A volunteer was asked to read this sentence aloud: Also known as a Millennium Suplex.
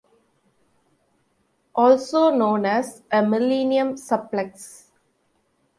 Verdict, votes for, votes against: accepted, 2, 0